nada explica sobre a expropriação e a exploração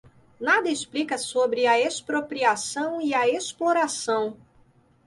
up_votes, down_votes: 2, 0